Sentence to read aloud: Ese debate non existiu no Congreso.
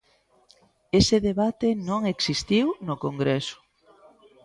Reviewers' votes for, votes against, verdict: 2, 0, accepted